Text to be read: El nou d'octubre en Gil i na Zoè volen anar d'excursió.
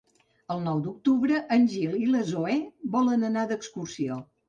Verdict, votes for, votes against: rejected, 0, 2